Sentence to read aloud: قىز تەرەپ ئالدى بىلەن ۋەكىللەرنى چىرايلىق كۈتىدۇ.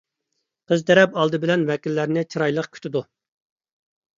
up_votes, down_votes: 2, 0